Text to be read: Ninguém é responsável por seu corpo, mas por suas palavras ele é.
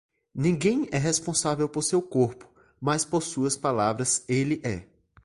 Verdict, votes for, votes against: accepted, 3, 0